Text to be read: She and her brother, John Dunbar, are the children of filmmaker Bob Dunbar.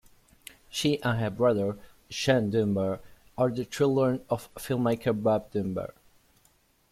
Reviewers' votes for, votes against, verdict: 0, 3, rejected